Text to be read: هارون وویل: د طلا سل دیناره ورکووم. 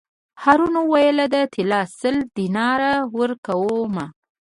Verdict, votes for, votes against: accepted, 2, 0